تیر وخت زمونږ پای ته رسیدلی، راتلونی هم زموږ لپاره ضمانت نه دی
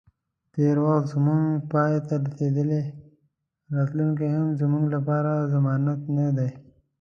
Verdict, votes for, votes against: accepted, 2, 1